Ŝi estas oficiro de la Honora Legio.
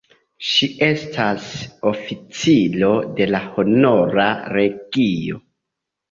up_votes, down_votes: 1, 2